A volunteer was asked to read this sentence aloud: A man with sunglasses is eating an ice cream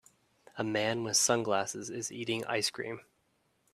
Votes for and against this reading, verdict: 1, 2, rejected